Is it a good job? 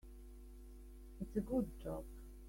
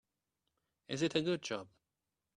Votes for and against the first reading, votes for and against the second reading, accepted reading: 0, 3, 3, 0, second